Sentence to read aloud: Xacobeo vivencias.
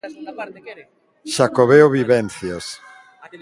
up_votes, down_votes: 0, 2